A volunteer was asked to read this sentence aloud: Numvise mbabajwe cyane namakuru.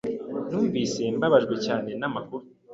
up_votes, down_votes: 2, 0